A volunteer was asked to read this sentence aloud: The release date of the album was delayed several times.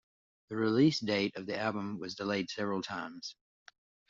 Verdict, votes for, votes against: accepted, 2, 0